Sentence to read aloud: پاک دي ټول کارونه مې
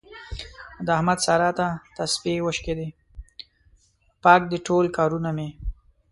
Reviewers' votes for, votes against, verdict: 0, 2, rejected